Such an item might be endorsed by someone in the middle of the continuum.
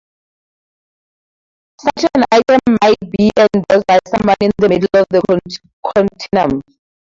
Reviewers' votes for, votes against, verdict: 0, 2, rejected